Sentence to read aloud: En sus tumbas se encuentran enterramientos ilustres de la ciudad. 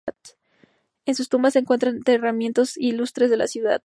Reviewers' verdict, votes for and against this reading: rejected, 0, 2